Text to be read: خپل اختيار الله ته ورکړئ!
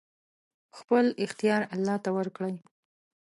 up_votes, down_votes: 2, 0